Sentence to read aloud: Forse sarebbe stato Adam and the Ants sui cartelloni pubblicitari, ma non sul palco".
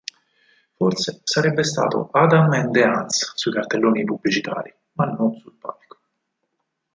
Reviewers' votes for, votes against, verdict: 2, 4, rejected